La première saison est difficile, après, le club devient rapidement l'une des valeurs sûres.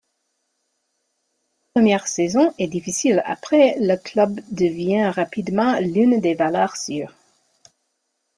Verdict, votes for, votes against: accepted, 2, 0